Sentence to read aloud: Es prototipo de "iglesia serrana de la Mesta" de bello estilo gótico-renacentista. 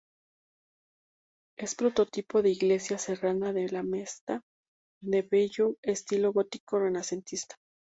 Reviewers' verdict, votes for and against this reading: accepted, 2, 0